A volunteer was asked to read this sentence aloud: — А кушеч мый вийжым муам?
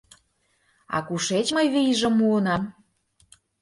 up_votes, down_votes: 0, 2